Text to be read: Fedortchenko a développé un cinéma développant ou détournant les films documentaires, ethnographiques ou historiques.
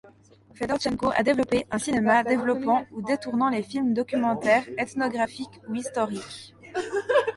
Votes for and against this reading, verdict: 1, 2, rejected